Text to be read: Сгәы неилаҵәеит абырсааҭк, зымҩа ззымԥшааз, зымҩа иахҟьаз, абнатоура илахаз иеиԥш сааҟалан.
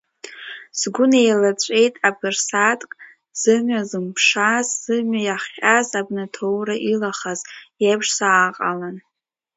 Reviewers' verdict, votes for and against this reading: rejected, 0, 2